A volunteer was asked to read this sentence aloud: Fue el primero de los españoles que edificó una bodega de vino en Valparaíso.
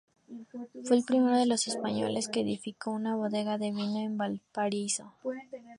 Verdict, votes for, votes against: accepted, 2, 0